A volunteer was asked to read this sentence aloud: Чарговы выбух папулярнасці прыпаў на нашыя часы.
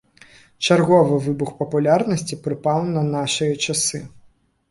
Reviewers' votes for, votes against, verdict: 3, 2, accepted